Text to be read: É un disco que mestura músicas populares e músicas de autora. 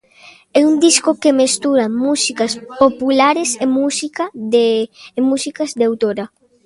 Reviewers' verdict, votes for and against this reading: rejected, 0, 2